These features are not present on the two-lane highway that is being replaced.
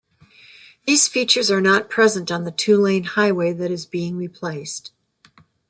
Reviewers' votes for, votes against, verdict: 2, 0, accepted